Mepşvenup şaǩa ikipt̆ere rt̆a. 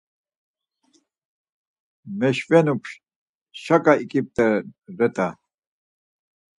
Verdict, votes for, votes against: rejected, 0, 4